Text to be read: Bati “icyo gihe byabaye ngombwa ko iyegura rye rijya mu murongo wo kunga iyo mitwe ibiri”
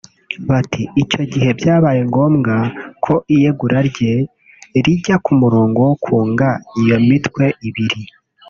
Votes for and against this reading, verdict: 3, 4, rejected